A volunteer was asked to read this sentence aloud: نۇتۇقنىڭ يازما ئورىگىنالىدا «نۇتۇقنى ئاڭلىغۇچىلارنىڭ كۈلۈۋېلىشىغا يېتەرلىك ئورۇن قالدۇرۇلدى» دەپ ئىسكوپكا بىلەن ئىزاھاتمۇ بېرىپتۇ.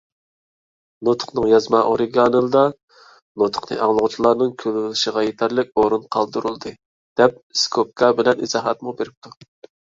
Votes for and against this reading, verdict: 1, 2, rejected